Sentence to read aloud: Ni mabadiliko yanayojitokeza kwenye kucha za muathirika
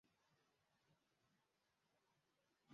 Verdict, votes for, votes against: rejected, 1, 2